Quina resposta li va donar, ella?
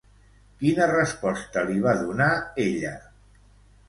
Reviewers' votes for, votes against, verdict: 2, 1, accepted